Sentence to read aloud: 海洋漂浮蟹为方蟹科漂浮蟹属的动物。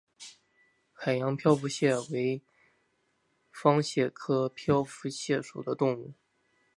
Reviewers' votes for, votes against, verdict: 2, 0, accepted